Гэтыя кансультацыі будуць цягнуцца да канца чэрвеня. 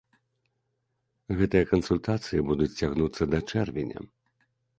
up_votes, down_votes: 0, 2